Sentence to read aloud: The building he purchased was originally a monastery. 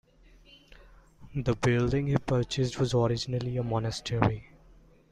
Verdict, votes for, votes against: accepted, 2, 0